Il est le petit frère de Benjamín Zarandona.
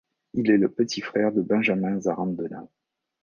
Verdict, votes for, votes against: accepted, 4, 0